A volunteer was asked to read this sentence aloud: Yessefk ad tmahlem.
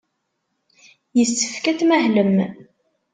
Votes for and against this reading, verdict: 2, 0, accepted